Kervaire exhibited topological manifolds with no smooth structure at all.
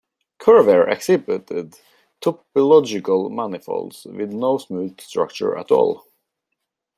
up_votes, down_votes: 1, 2